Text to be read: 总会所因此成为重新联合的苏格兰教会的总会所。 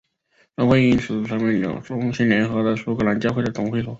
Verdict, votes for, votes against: rejected, 2, 3